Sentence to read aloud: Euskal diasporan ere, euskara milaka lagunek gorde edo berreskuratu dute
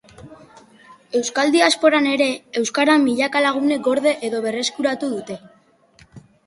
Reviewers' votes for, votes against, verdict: 2, 0, accepted